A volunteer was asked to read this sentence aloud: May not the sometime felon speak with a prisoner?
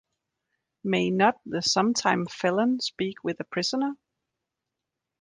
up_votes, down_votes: 2, 0